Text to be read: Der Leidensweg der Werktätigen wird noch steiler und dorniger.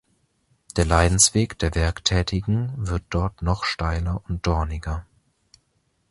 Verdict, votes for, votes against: rejected, 0, 2